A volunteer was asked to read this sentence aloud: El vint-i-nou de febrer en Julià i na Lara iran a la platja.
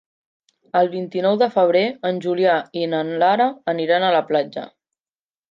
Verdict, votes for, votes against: rejected, 1, 2